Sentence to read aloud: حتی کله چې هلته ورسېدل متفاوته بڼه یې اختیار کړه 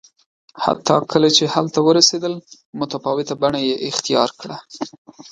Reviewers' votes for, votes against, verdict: 2, 0, accepted